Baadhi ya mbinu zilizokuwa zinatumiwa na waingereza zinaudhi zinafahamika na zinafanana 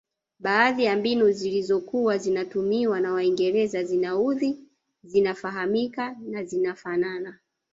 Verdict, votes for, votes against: rejected, 1, 2